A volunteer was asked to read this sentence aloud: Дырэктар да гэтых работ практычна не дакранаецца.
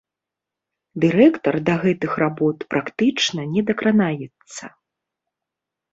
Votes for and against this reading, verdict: 2, 0, accepted